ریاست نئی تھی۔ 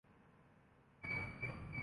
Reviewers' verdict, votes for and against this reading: rejected, 2, 4